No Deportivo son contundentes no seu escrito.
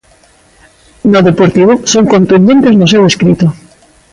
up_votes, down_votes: 2, 0